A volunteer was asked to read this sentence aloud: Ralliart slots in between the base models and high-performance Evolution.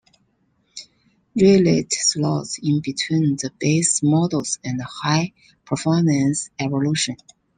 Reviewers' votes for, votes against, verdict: 0, 2, rejected